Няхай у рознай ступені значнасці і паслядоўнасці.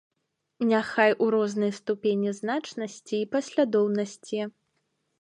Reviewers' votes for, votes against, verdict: 2, 0, accepted